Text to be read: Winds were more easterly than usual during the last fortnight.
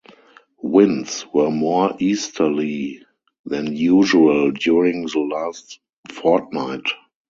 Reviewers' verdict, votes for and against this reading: accepted, 2, 0